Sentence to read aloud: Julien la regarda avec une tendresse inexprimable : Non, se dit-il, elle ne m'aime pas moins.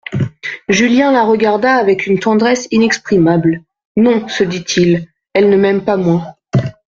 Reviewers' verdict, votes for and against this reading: accepted, 2, 0